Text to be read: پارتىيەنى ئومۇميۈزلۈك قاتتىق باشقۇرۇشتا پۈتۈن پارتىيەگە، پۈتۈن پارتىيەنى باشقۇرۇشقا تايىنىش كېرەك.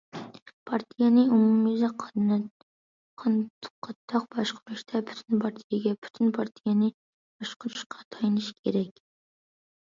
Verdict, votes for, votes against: rejected, 0, 2